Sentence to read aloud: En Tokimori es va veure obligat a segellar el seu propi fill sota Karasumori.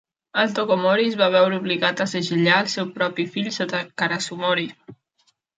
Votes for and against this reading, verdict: 0, 2, rejected